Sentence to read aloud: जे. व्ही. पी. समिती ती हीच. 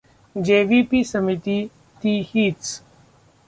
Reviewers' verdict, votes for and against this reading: rejected, 1, 2